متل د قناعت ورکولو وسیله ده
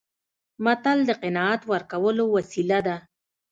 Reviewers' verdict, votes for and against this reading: accepted, 2, 0